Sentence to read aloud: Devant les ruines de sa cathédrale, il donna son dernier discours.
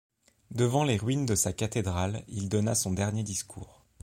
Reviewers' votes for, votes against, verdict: 2, 0, accepted